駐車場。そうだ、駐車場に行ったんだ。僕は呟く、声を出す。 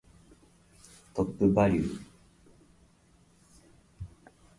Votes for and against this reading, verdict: 0, 2, rejected